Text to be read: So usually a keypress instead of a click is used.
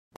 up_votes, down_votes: 0, 2